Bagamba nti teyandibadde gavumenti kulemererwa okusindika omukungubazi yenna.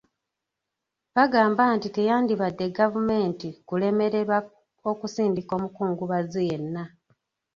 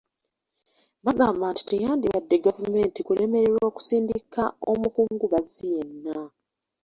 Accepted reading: second